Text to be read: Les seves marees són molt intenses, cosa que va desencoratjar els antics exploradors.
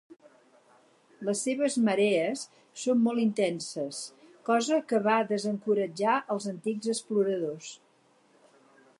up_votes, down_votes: 4, 0